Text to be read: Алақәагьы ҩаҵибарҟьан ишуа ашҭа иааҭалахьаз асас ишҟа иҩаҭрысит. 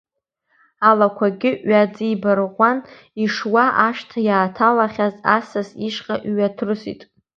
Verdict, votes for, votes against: accepted, 2, 0